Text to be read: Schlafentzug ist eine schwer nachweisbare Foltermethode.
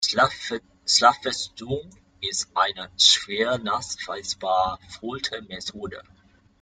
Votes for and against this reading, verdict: 0, 2, rejected